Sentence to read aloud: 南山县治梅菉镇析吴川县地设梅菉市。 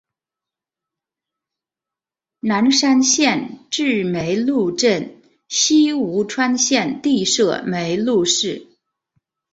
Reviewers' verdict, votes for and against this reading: accepted, 3, 0